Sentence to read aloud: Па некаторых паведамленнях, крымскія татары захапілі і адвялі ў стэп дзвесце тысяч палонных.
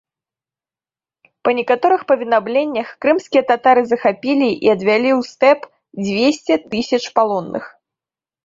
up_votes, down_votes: 1, 2